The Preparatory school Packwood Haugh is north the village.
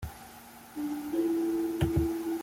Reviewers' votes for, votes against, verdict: 0, 2, rejected